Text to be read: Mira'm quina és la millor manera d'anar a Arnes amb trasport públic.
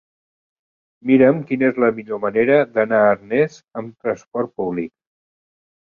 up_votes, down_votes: 1, 2